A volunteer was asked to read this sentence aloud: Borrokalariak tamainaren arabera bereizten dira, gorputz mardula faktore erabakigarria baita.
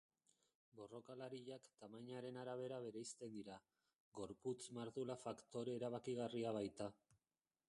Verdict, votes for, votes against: rejected, 0, 3